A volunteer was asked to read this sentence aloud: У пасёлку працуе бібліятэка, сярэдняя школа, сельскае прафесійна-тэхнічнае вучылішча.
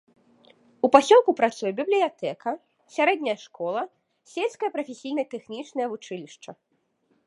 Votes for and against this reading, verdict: 1, 2, rejected